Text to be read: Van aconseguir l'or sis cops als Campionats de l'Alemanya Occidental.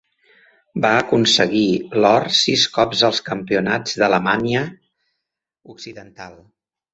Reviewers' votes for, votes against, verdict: 1, 3, rejected